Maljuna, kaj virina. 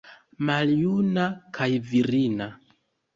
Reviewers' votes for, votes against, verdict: 1, 2, rejected